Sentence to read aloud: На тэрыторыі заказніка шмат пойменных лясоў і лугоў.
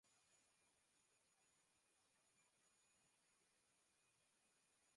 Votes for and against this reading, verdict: 0, 2, rejected